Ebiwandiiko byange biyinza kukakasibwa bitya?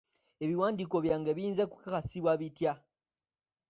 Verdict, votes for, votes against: accepted, 2, 0